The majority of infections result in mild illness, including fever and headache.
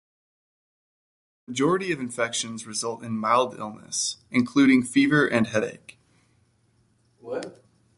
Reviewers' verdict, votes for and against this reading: rejected, 1, 2